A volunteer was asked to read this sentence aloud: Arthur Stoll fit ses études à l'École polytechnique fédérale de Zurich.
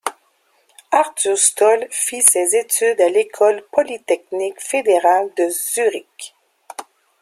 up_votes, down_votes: 2, 0